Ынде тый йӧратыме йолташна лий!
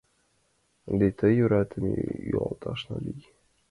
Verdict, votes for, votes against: accepted, 2, 1